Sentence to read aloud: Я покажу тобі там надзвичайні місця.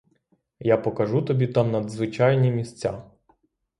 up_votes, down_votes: 3, 0